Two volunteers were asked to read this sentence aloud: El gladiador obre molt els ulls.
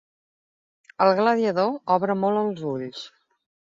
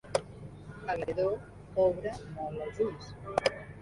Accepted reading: first